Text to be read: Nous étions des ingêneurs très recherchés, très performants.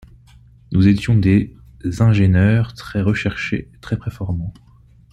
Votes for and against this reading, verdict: 2, 1, accepted